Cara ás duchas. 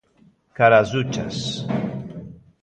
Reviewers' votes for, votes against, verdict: 2, 1, accepted